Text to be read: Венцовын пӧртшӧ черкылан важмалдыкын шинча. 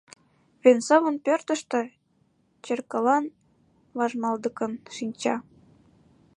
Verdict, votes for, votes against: rejected, 1, 2